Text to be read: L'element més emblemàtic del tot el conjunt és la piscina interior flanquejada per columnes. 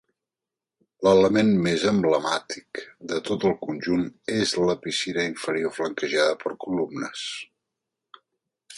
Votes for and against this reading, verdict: 1, 2, rejected